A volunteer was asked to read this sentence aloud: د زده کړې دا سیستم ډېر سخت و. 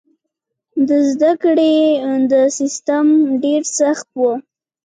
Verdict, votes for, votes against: rejected, 1, 2